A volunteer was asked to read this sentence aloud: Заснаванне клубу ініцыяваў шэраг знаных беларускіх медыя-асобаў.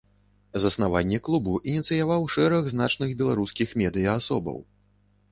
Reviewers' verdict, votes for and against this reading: rejected, 1, 2